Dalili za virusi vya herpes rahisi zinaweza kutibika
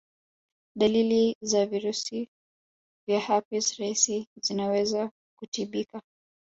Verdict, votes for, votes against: accepted, 3, 0